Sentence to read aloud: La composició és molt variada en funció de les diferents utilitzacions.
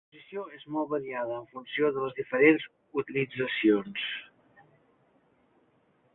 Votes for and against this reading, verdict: 0, 2, rejected